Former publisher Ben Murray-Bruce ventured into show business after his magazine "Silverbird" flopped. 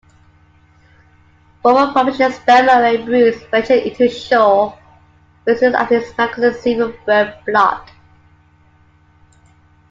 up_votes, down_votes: 1, 2